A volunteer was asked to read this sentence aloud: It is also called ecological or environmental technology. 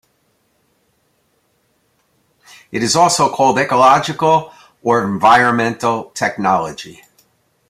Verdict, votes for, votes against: accepted, 2, 0